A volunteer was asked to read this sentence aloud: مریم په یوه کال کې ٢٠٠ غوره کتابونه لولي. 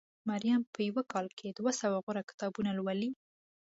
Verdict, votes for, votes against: rejected, 0, 2